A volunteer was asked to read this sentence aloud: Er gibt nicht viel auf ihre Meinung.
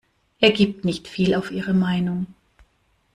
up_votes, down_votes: 2, 0